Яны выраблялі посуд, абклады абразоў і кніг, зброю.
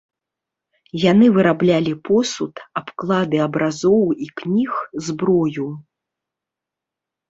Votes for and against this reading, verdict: 2, 0, accepted